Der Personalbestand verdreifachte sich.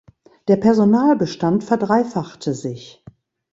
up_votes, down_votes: 2, 0